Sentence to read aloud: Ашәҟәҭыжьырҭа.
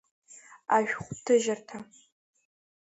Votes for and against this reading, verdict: 2, 0, accepted